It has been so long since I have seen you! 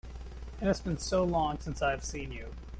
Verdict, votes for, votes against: rejected, 1, 2